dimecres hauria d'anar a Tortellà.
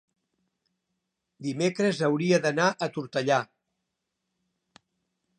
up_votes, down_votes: 5, 0